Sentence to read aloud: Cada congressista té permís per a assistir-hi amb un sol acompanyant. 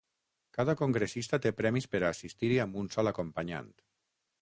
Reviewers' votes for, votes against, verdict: 3, 6, rejected